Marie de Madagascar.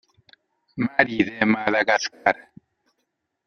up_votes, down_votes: 0, 2